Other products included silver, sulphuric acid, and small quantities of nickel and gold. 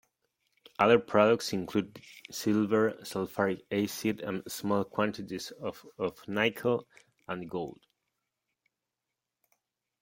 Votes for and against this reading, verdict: 0, 2, rejected